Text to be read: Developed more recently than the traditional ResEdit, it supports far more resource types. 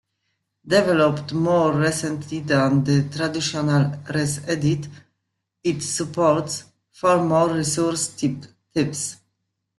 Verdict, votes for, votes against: rejected, 1, 2